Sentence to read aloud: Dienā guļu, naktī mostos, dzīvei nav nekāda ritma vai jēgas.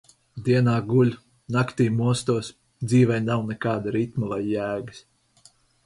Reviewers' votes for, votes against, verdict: 0, 4, rejected